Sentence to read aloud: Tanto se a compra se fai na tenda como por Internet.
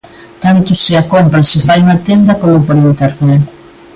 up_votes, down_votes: 2, 0